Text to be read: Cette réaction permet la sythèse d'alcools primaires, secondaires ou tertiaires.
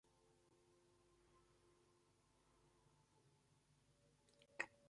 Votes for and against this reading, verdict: 0, 2, rejected